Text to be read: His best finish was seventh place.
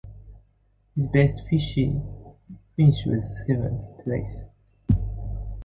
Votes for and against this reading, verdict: 0, 2, rejected